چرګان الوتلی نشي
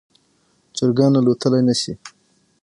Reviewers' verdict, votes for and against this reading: rejected, 0, 6